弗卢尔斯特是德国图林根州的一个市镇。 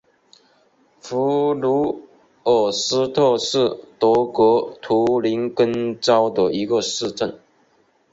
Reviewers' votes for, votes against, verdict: 0, 2, rejected